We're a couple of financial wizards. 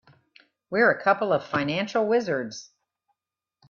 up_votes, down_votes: 2, 0